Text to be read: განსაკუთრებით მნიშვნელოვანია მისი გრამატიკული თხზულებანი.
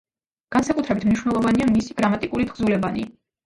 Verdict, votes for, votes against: rejected, 1, 2